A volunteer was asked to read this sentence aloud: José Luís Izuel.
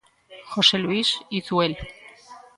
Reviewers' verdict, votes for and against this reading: accepted, 2, 0